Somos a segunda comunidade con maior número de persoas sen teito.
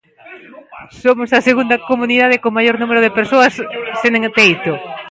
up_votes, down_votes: 0, 2